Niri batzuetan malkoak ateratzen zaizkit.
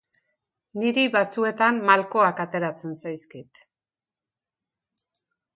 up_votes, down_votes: 2, 0